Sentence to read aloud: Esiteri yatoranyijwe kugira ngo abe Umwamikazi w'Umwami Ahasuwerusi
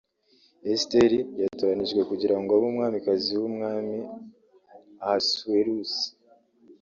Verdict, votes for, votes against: accepted, 2, 0